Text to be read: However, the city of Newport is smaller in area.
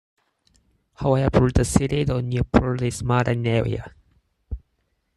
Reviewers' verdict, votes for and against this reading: rejected, 0, 4